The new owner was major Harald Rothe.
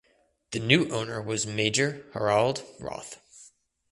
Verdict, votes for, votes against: accepted, 2, 0